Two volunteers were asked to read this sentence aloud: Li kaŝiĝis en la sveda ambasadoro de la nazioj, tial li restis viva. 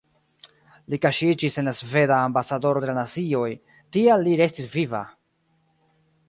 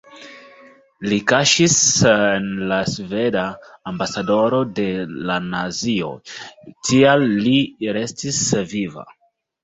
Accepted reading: second